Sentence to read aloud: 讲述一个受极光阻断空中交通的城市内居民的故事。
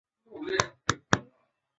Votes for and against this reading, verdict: 2, 0, accepted